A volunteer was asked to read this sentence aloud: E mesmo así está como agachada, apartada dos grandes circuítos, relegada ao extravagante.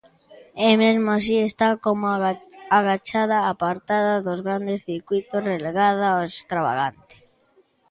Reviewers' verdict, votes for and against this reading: rejected, 1, 2